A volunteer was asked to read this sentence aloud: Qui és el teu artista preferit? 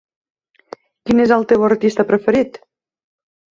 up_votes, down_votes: 2, 1